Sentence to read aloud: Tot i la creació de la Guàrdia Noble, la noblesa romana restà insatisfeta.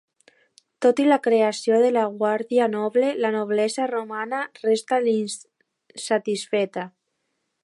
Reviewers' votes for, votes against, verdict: 0, 2, rejected